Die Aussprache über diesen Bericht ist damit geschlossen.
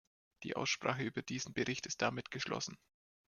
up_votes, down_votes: 2, 0